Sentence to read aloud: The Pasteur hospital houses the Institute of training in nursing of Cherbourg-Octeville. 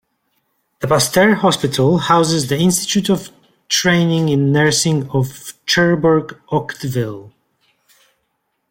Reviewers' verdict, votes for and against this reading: rejected, 1, 2